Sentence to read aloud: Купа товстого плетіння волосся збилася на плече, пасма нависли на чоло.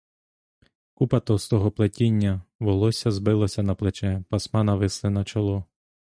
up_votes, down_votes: 2, 0